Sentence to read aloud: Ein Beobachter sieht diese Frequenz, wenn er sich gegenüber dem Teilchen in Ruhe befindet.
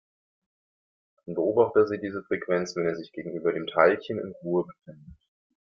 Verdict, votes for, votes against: rejected, 1, 2